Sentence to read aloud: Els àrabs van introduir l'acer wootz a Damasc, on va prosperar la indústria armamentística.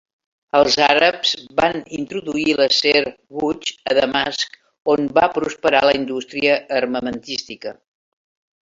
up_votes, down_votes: 1, 2